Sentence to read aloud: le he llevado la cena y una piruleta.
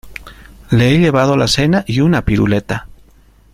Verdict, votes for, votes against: accepted, 2, 0